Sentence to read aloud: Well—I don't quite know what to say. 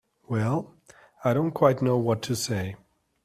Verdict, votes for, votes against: accepted, 4, 0